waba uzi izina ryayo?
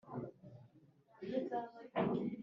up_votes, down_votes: 2, 0